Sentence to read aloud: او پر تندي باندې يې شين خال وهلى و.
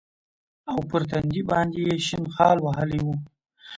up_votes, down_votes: 2, 0